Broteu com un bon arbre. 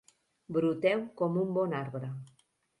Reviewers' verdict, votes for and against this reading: rejected, 0, 2